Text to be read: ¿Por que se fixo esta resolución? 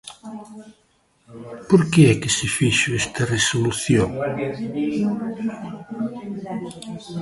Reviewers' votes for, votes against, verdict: 0, 2, rejected